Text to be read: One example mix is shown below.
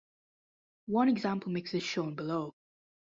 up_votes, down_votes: 2, 0